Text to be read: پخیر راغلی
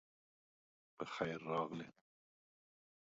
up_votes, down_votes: 1, 2